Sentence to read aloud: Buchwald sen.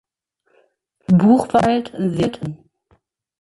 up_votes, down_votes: 0, 2